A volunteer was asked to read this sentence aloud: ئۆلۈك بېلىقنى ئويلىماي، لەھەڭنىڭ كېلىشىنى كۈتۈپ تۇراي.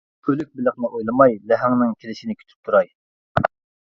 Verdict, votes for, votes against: rejected, 1, 2